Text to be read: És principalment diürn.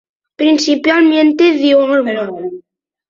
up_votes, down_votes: 0, 2